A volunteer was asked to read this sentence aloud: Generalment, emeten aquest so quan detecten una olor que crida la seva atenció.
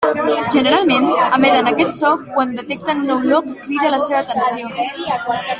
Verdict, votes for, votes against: accepted, 2, 1